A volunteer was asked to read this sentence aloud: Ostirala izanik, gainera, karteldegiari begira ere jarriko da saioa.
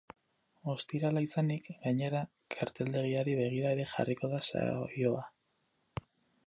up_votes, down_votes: 2, 2